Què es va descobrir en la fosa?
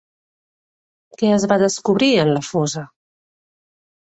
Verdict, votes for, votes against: accepted, 3, 0